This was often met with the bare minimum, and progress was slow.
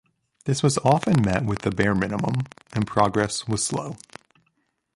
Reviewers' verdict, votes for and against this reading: accepted, 2, 1